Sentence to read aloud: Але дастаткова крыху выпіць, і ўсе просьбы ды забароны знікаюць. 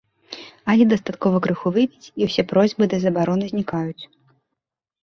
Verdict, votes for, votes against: accepted, 2, 0